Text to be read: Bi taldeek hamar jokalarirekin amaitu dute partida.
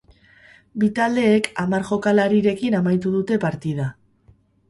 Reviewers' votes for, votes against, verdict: 2, 0, accepted